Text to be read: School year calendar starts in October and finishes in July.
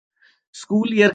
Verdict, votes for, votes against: rejected, 0, 2